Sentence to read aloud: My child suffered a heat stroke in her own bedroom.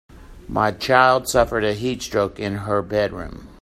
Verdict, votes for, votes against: rejected, 1, 3